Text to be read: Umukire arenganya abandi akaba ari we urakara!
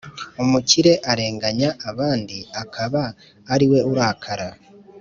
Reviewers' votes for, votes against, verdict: 0, 2, rejected